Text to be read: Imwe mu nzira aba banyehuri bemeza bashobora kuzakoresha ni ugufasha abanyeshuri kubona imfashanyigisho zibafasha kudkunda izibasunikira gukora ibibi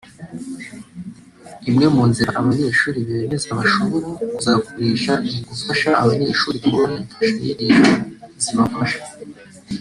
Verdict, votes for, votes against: rejected, 1, 3